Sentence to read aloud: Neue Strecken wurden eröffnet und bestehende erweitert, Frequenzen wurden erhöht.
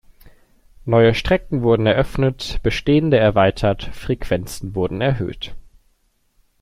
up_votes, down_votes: 0, 2